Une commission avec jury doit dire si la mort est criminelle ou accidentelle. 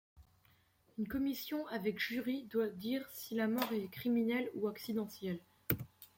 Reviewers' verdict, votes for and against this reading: rejected, 1, 2